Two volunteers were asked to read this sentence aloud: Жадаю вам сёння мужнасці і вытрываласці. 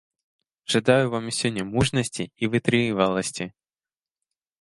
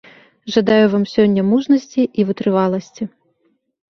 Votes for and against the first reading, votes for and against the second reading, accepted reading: 0, 2, 2, 0, second